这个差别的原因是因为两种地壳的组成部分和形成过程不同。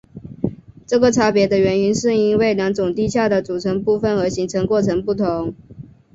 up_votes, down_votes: 3, 0